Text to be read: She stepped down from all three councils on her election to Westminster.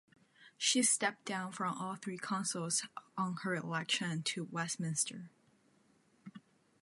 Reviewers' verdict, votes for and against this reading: rejected, 1, 2